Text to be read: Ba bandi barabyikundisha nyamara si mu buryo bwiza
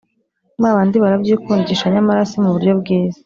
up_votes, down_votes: 2, 0